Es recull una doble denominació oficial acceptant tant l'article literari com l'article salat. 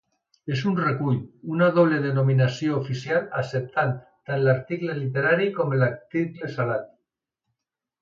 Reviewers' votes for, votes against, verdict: 1, 2, rejected